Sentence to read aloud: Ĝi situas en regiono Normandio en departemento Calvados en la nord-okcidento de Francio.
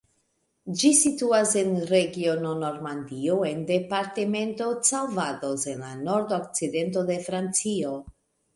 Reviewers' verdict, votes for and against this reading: accepted, 2, 0